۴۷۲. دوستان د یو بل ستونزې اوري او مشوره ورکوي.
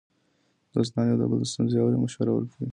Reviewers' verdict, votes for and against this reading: rejected, 0, 2